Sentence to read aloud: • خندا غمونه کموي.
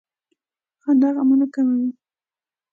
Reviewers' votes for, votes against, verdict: 2, 0, accepted